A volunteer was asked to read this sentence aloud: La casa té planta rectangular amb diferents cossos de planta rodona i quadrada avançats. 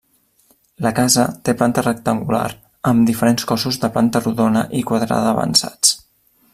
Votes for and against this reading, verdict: 1, 2, rejected